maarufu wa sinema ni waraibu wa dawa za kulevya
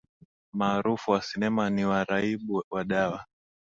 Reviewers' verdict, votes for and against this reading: rejected, 0, 2